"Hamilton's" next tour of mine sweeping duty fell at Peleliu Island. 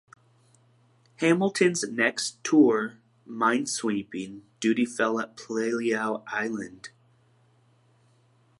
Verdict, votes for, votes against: rejected, 1, 2